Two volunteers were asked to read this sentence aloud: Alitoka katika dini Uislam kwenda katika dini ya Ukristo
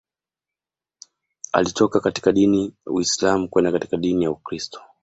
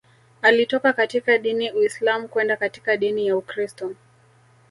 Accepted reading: first